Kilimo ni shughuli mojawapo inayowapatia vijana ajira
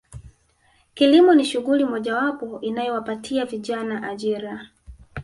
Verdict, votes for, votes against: rejected, 1, 2